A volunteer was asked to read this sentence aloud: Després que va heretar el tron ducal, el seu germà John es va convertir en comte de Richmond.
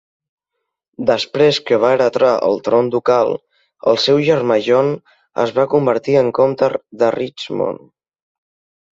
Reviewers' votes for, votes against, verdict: 1, 2, rejected